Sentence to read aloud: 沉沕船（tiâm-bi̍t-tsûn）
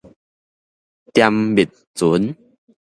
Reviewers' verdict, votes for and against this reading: accepted, 2, 0